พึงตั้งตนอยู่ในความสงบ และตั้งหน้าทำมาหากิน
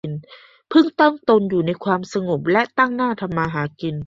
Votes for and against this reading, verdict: 1, 3, rejected